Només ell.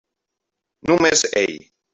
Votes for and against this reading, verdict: 0, 2, rejected